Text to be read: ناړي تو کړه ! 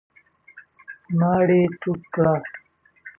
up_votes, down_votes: 1, 2